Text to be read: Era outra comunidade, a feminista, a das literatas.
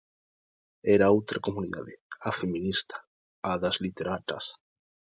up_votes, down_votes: 2, 1